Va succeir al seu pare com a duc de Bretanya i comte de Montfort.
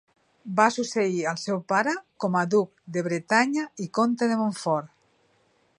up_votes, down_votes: 2, 0